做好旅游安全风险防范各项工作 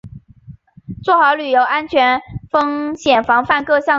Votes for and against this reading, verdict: 1, 4, rejected